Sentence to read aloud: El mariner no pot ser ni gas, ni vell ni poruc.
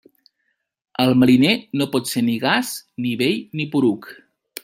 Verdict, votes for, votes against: accepted, 2, 0